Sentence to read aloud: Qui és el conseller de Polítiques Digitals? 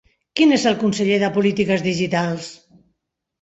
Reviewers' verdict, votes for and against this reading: rejected, 0, 2